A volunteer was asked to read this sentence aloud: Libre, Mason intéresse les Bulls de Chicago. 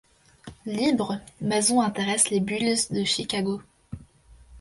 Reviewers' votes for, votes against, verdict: 2, 0, accepted